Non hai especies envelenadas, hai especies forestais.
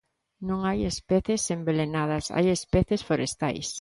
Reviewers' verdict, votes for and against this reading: accepted, 2, 0